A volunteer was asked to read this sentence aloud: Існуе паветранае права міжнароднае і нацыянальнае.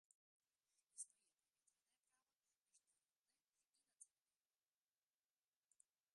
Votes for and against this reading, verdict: 0, 2, rejected